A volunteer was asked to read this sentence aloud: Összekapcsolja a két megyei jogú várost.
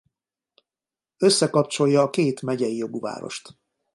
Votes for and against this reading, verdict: 2, 0, accepted